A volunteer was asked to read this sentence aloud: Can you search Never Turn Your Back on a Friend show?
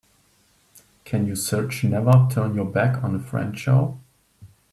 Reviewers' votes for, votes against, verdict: 2, 0, accepted